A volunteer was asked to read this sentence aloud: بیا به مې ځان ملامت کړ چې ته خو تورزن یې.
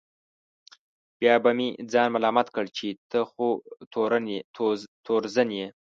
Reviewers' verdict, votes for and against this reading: rejected, 0, 2